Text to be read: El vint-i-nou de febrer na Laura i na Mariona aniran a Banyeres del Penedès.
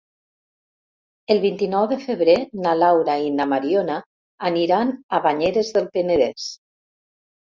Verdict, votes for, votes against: accepted, 3, 0